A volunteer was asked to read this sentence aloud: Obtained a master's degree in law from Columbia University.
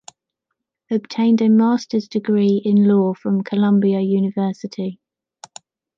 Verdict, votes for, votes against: accepted, 2, 0